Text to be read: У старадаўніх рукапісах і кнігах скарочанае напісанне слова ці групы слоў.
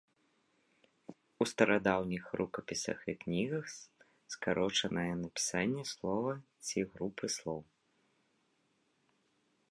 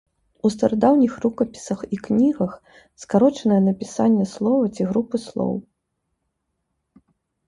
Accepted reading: second